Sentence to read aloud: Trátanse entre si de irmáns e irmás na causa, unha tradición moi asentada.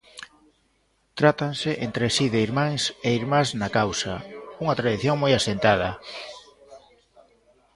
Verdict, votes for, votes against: rejected, 0, 2